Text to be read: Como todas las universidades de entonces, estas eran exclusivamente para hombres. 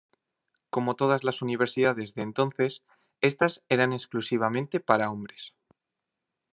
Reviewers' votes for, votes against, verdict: 2, 0, accepted